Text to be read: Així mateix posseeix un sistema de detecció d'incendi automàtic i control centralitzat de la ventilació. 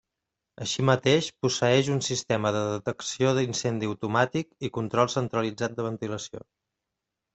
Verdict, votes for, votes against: rejected, 1, 2